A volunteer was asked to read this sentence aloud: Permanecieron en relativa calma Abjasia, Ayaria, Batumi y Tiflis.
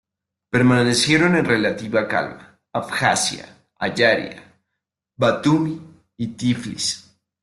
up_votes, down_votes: 2, 0